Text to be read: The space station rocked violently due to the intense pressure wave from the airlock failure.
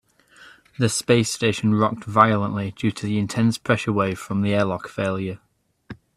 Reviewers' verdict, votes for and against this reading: accepted, 3, 0